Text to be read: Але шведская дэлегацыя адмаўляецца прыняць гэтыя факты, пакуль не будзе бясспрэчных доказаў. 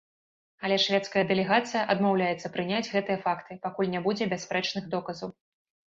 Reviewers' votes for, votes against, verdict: 2, 1, accepted